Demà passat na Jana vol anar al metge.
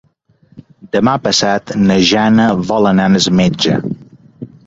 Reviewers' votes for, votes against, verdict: 0, 4, rejected